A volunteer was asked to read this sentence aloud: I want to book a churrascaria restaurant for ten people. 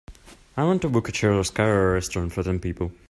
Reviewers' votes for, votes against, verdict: 0, 2, rejected